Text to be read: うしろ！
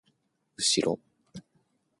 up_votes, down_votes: 2, 0